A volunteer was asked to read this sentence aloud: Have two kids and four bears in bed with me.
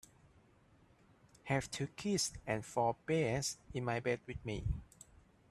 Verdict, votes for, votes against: rejected, 0, 2